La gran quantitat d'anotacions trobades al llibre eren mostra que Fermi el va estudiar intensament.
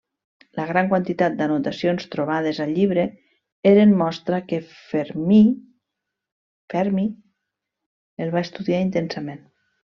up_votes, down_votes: 1, 2